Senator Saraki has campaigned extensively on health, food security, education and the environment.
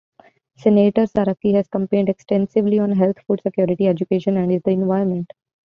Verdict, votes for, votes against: accepted, 2, 0